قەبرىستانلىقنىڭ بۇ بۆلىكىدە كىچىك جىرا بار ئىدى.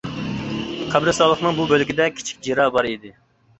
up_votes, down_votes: 1, 2